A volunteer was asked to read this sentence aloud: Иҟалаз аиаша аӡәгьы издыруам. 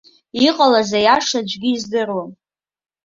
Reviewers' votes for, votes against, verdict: 3, 0, accepted